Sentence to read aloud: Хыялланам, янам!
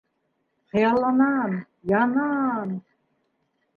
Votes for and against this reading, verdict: 0, 2, rejected